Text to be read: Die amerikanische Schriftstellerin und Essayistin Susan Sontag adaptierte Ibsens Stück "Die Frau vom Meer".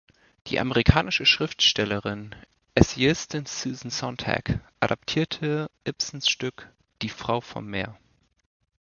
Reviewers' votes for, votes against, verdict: 0, 2, rejected